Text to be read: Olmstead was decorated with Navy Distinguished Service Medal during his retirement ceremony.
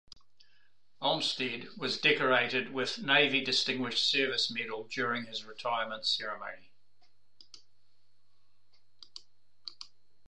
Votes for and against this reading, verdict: 1, 2, rejected